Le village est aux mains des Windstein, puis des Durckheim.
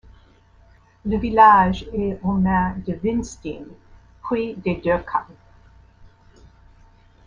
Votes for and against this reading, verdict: 1, 2, rejected